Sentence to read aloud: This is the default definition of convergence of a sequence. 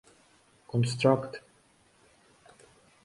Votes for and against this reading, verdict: 0, 2, rejected